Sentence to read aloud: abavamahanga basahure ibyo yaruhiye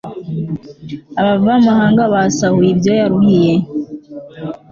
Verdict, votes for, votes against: accepted, 2, 0